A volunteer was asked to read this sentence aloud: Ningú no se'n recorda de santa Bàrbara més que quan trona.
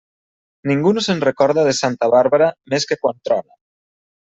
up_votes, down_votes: 1, 2